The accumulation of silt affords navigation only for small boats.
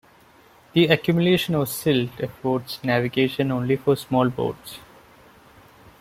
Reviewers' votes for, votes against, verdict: 2, 0, accepted